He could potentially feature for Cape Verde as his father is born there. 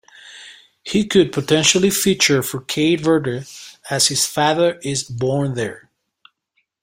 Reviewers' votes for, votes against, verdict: 1, 2, rejected